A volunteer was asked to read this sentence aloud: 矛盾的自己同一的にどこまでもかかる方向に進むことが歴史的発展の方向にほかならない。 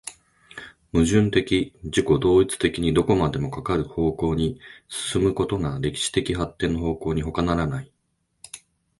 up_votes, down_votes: 0, 2